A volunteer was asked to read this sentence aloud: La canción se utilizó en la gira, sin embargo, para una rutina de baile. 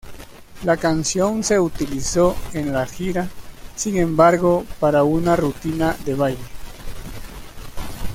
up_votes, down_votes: 2, 1